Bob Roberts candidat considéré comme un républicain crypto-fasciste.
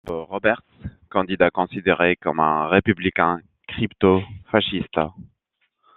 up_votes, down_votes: 2, 1